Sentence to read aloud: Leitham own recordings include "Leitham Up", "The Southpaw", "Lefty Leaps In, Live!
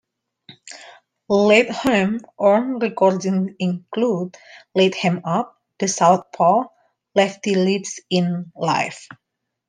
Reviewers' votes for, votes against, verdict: 0, 2, rejected